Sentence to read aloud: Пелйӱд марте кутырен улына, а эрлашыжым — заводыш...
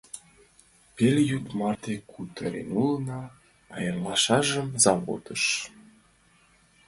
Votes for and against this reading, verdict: 0, 3, rejected